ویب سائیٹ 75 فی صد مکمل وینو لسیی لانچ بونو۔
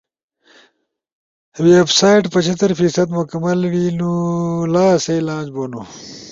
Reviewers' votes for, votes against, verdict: 0, 2, rejected